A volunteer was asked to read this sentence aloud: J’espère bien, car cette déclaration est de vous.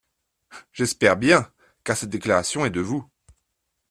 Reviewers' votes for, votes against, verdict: 2, 0, accepted